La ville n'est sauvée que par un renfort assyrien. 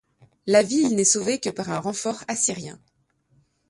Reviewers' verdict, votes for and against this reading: rejected, 0, 2